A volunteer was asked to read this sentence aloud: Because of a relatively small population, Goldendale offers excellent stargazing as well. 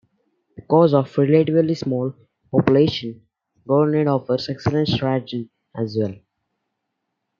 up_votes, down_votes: 1, 2